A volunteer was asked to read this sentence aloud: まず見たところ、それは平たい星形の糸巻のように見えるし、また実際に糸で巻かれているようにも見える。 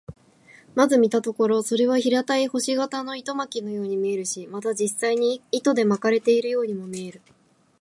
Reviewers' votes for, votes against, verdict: 2, 2, rejected